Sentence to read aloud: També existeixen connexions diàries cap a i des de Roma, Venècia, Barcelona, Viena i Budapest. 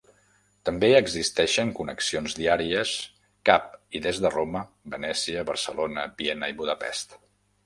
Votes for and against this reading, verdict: 0, 2, rejected